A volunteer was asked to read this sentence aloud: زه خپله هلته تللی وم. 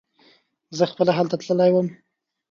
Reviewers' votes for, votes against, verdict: 2, 0, accepted